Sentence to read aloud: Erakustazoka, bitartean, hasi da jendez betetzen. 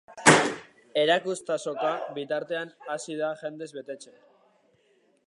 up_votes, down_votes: 2, 0